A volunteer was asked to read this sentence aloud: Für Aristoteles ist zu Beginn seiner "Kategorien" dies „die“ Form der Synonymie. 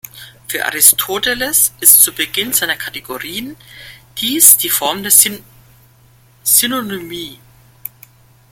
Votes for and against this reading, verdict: 0, 2, rejected